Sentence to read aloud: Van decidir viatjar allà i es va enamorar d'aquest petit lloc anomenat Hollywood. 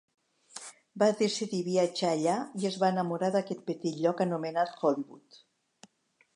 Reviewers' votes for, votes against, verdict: 1, 2, rejected